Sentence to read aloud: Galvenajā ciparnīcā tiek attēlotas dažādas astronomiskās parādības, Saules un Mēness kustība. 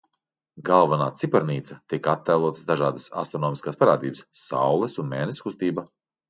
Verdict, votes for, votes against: rejected, 0, 2